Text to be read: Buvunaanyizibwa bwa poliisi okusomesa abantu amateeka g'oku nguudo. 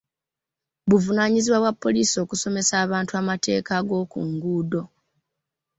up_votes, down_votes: 1, 2